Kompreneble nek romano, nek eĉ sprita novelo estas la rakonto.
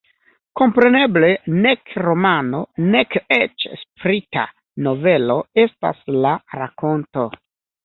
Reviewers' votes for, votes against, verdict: 2, 0, accepted